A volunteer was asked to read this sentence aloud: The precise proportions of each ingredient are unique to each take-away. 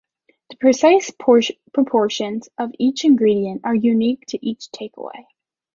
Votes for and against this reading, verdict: 0, 2, rejected